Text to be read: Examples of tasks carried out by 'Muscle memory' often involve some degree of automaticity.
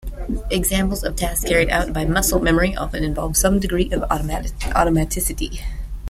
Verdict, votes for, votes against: rejected, 1, 2